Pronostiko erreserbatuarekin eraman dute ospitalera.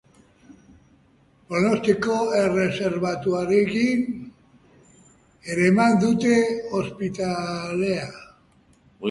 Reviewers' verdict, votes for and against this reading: accepted, 2, 0